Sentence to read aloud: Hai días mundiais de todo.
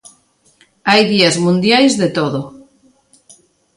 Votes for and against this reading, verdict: 2, 0, accepted